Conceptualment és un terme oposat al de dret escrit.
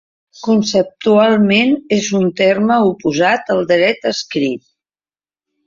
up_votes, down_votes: 2, 3